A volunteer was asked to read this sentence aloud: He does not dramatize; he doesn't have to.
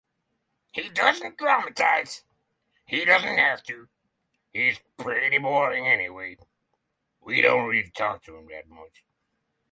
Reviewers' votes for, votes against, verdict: 3, 9, rejected